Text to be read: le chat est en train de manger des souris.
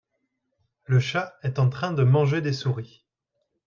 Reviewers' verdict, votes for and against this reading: accepted, 2, 0